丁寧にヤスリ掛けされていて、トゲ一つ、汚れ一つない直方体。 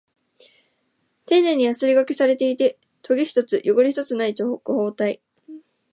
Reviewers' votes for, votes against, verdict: 1, 2, rejected